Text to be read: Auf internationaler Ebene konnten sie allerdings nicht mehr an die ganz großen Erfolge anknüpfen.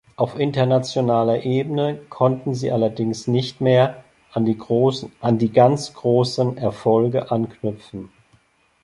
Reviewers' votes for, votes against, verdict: 0, 2, rejected